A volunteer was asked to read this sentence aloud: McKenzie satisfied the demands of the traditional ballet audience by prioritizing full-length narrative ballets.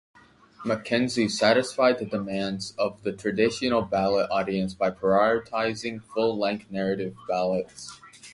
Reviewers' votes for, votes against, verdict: 1, 2, rejected